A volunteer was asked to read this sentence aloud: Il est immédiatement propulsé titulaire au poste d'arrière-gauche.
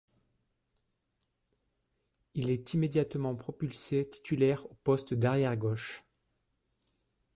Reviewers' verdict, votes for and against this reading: rejected, 1, 2